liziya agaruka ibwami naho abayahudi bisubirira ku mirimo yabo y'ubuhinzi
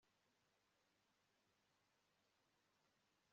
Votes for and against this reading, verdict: 1, 2, rejected